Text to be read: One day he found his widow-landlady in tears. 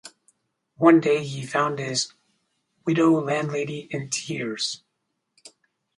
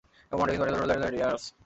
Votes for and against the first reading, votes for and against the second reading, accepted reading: 4, 0, 0, 2, first